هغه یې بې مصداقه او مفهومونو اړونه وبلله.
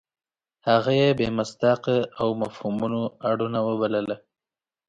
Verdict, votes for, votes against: accepted, 2, 0